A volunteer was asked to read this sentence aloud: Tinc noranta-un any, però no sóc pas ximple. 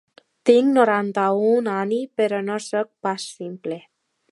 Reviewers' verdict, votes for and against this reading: rejected, 1, 2